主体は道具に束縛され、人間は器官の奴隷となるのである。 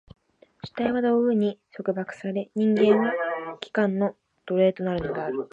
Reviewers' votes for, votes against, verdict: 2, 0, accepted